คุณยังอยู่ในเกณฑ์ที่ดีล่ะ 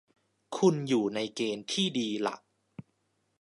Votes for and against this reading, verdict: 1, 2, rejected